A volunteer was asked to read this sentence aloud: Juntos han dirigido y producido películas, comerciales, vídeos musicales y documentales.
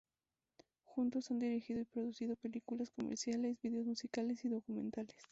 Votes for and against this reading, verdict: 2, 0, accepted